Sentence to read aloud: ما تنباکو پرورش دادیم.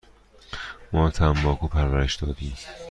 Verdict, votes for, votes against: accepted, 2, 0